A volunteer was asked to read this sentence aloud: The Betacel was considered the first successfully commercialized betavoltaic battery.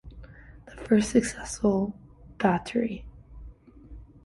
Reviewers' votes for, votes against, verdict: 1, 2, rejected